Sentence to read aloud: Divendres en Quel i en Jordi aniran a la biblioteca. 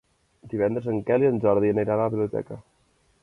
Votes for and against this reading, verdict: 1, 2, rejected